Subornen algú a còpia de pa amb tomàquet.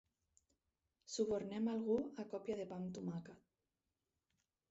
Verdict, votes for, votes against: accepted, 4, 2